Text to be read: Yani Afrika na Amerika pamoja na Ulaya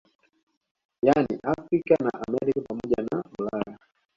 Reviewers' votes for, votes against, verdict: 2, 0, accepted